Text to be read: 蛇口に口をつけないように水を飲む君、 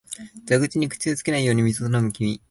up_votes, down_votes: 2, 0